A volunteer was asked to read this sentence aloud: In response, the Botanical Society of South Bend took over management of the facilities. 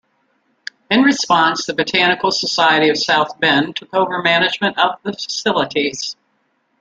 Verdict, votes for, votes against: accepted, 2, 0